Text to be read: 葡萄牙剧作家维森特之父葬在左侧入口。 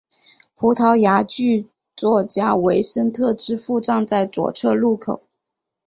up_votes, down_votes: 0, 2